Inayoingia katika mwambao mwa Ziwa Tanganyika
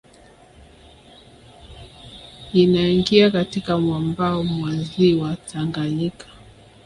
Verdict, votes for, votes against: rejected, 1, 2